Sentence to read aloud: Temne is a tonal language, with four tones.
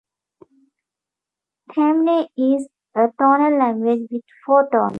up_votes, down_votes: 0, 2